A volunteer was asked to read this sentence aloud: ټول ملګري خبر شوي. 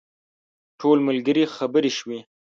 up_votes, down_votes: 1, 2